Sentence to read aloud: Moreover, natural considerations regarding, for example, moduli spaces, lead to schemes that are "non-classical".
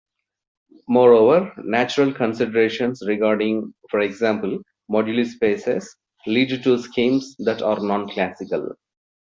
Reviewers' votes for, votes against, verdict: 2, 0, accepted